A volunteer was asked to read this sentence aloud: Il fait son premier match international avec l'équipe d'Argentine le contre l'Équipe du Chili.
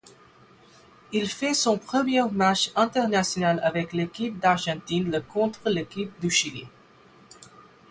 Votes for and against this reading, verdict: 4, 8, rejected